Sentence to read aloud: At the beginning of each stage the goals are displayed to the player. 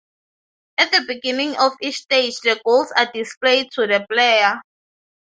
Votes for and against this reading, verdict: 3, 0, accepted